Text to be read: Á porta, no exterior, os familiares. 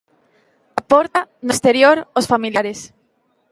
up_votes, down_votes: 2, 0